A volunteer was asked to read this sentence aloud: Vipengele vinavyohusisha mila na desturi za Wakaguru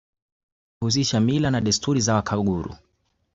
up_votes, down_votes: 0, 2